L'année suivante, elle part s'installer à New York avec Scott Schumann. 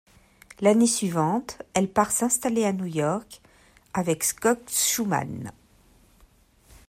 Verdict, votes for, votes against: accepted, 2, 1